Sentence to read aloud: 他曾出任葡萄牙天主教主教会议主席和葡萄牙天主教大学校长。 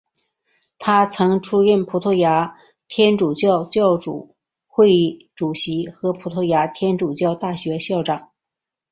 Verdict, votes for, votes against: accepted, 2, 0